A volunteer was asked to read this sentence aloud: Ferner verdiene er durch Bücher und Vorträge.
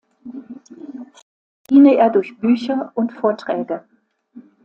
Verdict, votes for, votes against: rejected, 0, 2